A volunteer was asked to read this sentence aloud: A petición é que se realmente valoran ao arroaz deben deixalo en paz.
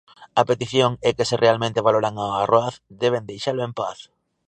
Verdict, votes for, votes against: rejected, 0, 2